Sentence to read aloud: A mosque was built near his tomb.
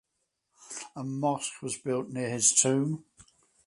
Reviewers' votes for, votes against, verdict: 4, 0, accepted